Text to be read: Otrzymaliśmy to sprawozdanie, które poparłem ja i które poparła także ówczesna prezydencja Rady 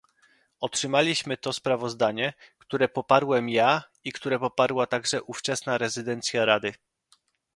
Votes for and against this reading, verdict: 0, 2, rejected